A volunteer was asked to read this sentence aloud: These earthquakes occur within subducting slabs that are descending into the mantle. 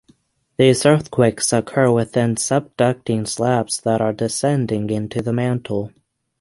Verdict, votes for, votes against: accepted, 6, 0